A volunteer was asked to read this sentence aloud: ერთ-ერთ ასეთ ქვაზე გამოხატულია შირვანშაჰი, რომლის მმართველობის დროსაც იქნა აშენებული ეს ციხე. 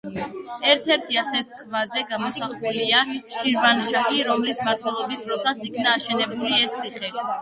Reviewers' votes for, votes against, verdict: 0, 2, rejected